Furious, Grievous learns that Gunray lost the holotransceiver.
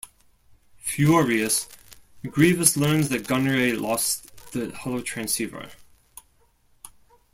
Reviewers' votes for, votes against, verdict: 2, 1, accepted